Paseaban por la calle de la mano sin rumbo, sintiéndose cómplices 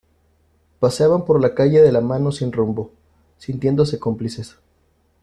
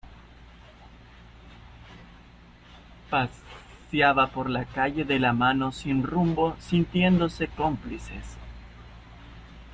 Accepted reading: first